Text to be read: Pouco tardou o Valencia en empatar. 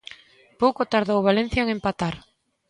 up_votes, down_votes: 2, 0